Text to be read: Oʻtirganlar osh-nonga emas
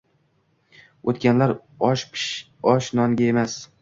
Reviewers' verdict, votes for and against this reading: rejected, 0, 2